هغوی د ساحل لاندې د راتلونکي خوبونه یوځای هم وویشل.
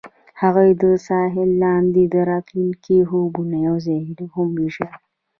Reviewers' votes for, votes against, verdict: 0, 2, rejected